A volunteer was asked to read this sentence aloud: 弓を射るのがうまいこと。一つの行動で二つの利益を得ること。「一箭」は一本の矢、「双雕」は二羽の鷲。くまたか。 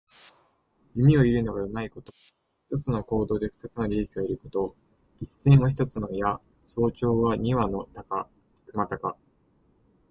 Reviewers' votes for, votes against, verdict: 2, 0, accepted